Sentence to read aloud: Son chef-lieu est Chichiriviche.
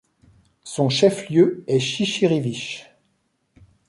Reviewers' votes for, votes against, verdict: 2, 0, accepted